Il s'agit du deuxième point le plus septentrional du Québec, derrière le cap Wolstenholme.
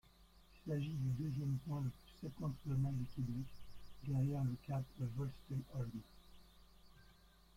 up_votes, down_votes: 0, 2